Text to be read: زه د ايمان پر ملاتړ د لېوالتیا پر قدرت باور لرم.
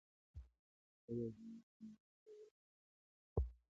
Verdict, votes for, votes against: rejected, 0, 2